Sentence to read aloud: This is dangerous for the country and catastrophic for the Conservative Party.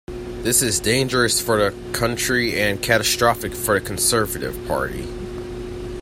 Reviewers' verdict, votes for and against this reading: accepted, 2, 0